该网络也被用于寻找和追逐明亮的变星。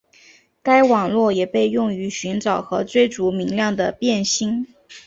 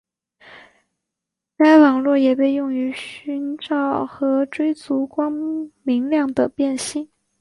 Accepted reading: first